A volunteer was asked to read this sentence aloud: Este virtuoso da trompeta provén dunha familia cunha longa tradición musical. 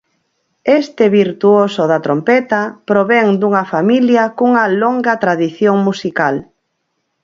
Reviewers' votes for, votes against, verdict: 4, 0, accepted